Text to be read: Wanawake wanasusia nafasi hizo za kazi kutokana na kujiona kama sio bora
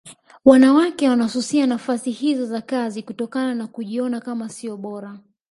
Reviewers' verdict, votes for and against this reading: rejected, 0, 2